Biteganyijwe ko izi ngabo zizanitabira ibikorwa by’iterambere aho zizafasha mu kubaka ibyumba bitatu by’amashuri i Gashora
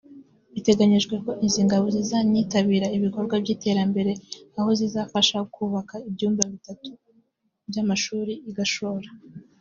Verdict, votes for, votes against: accepted, 2, 0